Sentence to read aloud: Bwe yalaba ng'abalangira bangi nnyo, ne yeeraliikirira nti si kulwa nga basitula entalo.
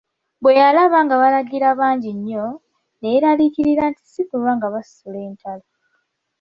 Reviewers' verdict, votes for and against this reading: rejected, 1, 2